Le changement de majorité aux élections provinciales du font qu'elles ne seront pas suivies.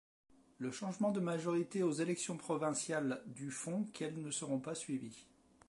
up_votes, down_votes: 1, 2